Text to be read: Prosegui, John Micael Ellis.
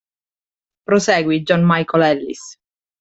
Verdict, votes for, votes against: accepted, 2, 0